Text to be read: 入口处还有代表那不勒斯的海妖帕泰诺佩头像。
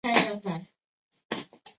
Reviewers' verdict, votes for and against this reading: rejected, 0, 2